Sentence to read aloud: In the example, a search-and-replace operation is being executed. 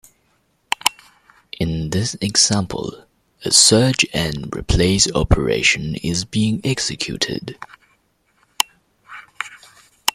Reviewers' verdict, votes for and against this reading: rejected, 1, 2